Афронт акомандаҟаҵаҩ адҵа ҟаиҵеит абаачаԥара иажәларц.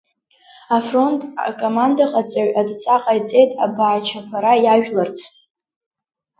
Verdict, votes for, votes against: accepted, 2, 0